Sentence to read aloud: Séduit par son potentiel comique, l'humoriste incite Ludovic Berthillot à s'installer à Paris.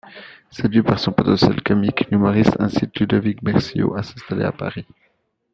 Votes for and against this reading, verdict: 1, 2, rejected